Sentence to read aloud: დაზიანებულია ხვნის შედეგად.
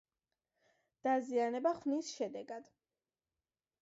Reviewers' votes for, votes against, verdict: 1, 2, rejected